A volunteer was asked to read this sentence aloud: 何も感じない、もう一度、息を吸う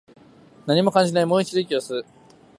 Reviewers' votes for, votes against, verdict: 3, 0, accepted